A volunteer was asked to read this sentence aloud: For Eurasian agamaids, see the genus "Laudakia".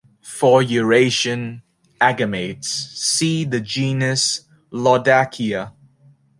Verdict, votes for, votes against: accepted, 2, 0